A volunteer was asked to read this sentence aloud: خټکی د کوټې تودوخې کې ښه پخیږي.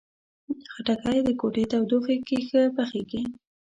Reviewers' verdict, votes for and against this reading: accepted, 2, 0